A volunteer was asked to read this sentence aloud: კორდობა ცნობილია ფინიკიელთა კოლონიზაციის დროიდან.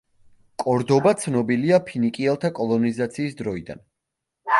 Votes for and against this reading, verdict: 2, 1, accepted